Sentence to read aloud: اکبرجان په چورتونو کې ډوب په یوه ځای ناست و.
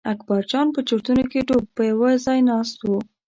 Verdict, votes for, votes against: accepted, 3, 0